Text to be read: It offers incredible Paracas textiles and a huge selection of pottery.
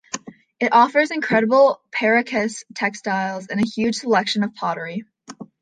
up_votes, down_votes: 2, 0